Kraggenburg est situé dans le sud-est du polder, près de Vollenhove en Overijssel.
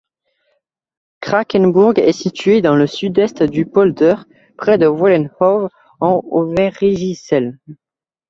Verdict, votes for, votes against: rejected, 0, 2